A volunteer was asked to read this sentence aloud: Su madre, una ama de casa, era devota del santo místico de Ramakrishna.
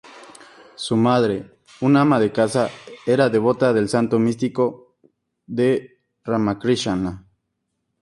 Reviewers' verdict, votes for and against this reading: accepted, 2, 0